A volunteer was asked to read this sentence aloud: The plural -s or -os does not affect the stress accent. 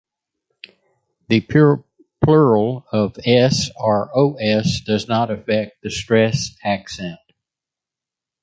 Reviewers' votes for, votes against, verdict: 0, 2, rejected